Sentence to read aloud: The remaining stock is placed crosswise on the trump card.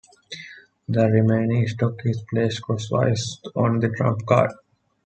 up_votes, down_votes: 2, 0